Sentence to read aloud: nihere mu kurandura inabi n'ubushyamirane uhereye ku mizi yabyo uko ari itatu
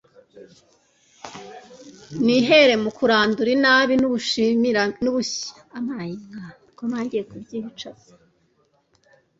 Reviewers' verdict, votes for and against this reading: rejected, 0, 2